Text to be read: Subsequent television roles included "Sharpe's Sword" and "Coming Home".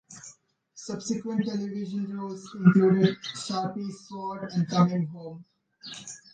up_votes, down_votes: 2, 1